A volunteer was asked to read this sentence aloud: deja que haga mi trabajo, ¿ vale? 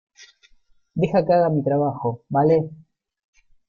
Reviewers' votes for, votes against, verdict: 2, 0, accepted